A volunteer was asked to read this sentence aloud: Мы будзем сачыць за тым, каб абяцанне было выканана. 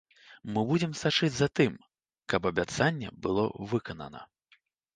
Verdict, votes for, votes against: accepted, 2, 0